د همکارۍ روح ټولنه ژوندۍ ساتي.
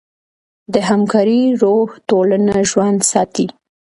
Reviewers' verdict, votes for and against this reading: rejected, 0, 2